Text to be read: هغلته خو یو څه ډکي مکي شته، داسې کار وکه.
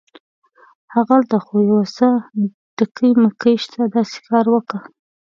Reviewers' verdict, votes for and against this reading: accepted, 2, 1